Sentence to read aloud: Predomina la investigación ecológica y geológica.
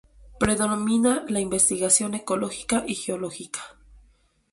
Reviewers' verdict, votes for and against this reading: rejected, 2, 4